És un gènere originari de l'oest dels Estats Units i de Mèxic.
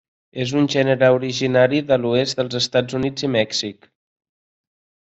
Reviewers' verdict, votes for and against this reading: accepted, 2, 1